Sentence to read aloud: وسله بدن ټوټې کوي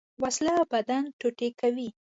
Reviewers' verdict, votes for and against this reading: accepted, 2, 0